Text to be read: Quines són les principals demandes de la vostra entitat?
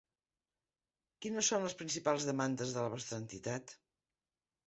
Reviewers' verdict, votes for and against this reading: accepted, 3, 0